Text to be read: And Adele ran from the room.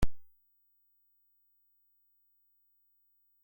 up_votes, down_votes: 0, 2